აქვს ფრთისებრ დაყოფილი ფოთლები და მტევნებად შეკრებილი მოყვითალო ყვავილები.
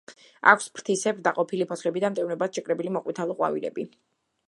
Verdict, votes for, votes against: accepted, 2, 0